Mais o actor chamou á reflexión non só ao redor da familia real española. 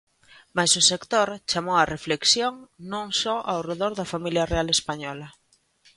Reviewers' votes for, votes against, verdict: 0, 2, rejected